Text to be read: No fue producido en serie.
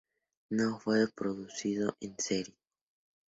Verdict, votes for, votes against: rejected, 0, 4